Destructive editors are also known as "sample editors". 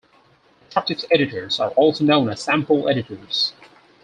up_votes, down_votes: 0, 4